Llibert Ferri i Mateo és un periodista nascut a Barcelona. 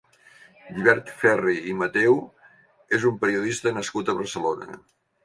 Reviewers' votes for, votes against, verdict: 3, 0, accepted